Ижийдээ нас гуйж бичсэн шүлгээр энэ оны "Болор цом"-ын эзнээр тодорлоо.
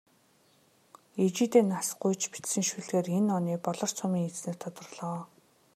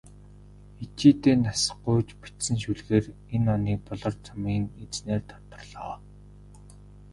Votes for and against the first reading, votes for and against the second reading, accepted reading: 2, 0, 1, 2, first